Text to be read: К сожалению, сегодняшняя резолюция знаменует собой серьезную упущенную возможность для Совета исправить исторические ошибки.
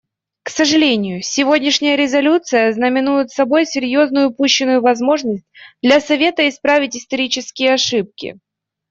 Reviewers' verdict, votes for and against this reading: accepted, 2, 0